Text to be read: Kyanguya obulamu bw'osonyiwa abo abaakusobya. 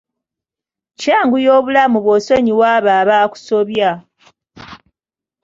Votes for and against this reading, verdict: 2, 0, accepted